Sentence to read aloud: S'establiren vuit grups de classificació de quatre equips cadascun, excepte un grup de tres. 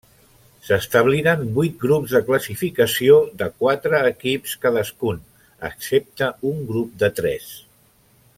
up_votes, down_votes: 3, 0